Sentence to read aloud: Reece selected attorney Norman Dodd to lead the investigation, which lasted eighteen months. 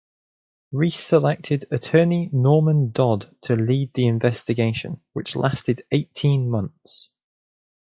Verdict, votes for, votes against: accepted, 2, 0